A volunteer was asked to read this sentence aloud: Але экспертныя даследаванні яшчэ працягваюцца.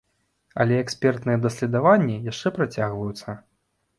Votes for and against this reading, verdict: 0, 3, rejected